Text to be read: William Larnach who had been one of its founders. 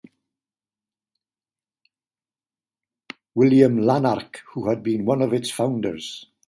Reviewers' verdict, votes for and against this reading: accepted, 2, 0